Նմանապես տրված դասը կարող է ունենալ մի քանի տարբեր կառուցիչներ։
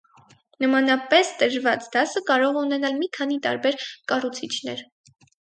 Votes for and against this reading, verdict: 2, 2, rejected